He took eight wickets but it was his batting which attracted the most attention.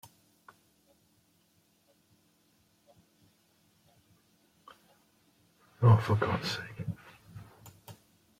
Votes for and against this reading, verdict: 0, 2, rejected